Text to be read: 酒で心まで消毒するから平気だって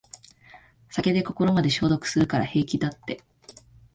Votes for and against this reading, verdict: 2, 0, accepted